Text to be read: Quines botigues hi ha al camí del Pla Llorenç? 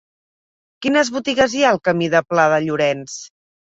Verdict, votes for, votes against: rejected, 0, 2